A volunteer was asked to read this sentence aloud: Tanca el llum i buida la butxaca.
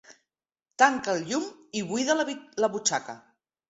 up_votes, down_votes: 4, 2